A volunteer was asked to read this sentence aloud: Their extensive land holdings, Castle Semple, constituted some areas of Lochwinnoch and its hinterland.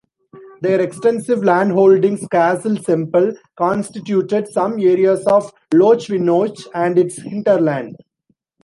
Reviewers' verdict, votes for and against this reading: rejected, 1, 2